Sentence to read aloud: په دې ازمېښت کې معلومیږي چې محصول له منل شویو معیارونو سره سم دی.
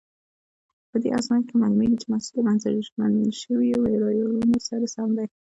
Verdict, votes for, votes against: rejected, 0, 2